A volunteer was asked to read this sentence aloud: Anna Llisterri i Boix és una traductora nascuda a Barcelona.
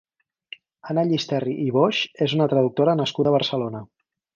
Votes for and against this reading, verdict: 4, 0, accepted